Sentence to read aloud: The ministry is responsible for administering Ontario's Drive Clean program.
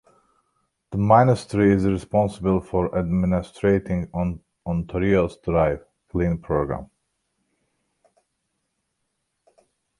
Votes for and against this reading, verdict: 2, 1, accepted